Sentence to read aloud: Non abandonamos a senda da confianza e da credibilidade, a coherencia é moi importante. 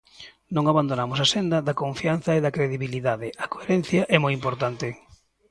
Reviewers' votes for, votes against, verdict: 2, 0, accepted